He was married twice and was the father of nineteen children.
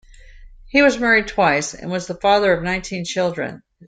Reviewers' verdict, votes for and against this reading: accepted, 2, 0